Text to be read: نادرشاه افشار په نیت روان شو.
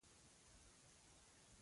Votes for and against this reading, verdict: 0, 2, rejected